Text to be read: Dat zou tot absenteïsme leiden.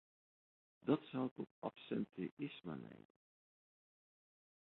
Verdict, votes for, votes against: rejected, 0, 2